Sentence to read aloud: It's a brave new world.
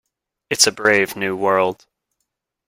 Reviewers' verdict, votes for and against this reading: accepted, 2, 0